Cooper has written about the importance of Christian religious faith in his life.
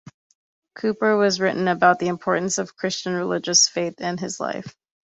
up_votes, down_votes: 0, 2